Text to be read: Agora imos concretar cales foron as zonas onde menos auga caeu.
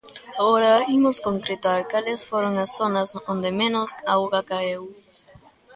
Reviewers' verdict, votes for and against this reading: rejected, 0, 2